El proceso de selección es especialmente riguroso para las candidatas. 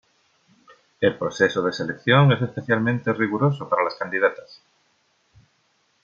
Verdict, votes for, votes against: accepted, 2, 0